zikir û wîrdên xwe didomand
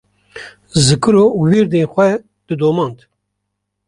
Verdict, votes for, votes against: rejected, 0, 2